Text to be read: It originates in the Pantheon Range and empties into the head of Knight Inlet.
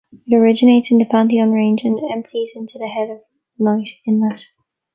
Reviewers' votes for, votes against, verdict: 2, 0, accepted